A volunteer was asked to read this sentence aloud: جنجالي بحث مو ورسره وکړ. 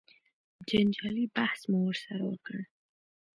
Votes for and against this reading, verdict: 2, 0, accepted